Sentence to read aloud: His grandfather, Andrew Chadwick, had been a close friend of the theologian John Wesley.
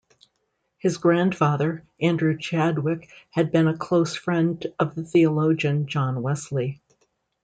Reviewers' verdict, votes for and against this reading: accepted, 2, 0